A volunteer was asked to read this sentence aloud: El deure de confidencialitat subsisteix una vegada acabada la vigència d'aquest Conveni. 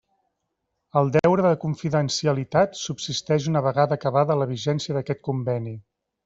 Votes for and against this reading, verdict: 3, 0, accepted